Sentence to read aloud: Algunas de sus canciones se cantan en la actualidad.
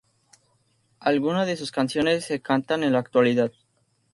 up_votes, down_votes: 2, 0